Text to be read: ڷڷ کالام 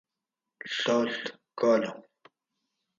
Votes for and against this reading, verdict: 4, 0, accepted